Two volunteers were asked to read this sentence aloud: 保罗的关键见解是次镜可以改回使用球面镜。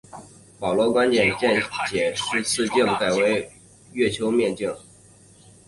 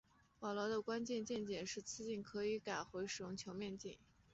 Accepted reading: second